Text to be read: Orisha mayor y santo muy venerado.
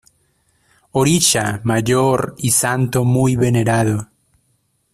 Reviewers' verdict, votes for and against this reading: accepted, 2, 0